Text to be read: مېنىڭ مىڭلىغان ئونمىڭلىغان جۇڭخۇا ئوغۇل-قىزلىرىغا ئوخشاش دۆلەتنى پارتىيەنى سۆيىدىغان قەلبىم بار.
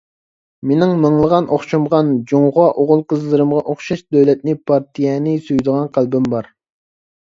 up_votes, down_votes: 0, 2